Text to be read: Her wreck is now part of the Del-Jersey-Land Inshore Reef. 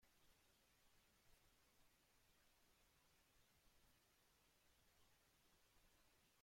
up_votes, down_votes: 0, 2